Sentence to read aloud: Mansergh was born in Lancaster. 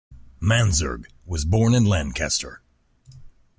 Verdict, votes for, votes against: accepted, 2, 0